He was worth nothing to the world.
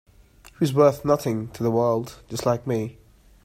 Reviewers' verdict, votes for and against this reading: rejected, 0, 2